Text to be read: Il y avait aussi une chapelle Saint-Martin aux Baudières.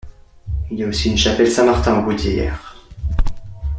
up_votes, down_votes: 1, 2